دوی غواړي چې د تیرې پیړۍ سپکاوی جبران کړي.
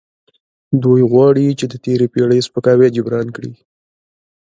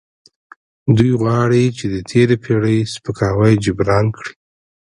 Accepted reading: second